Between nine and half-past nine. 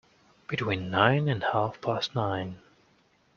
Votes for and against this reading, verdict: 2, 1, accepted